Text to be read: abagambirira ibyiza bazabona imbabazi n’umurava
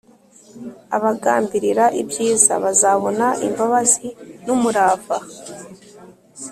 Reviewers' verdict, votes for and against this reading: accepted, 2, 0